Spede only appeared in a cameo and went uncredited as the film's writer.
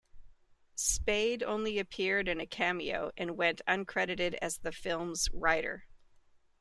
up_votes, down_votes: 2, 0